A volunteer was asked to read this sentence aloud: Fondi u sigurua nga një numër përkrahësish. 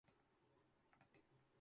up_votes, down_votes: 0, 2